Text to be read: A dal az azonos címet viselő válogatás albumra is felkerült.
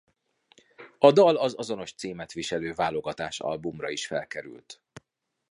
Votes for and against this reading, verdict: 2, 0, accepted